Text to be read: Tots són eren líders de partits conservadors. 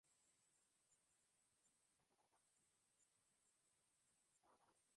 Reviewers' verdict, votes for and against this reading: rejected, 0, 2